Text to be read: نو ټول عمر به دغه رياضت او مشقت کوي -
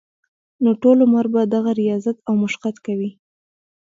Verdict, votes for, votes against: rejected, 0, 2